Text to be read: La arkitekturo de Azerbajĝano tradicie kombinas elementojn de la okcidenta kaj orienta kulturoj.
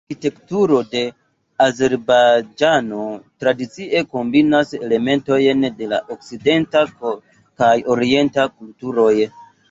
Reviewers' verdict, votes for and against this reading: rejected, 1, 2